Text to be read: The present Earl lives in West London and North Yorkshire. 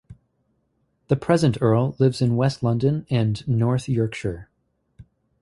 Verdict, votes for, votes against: accepted, 2, 0